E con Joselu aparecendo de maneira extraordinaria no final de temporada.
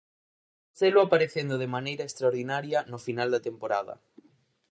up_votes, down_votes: 0, 4